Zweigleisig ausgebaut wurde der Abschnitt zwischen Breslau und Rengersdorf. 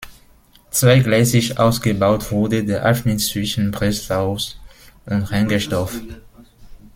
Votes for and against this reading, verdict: 0, 2, rejected